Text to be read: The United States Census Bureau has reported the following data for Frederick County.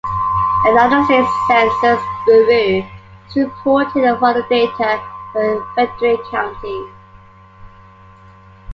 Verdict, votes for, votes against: accepted, 2, 1